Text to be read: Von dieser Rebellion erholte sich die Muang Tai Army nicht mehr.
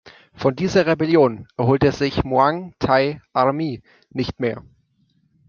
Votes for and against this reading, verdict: 1, 2, rejected